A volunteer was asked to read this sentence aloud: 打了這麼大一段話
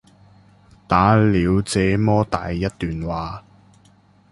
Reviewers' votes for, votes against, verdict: 0, 2, rejected